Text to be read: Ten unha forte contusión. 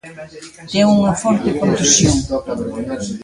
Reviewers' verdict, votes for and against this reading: rejected, 0, 2